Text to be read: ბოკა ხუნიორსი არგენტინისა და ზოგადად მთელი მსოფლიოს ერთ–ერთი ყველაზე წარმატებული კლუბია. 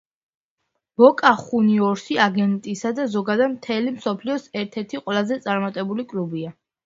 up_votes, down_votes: 0, 2